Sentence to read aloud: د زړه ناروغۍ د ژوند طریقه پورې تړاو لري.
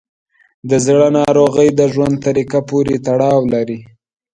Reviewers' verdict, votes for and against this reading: accepted, 2, 1